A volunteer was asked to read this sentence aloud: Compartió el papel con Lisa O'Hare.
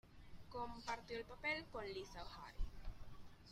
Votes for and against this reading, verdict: 2, 0, accepted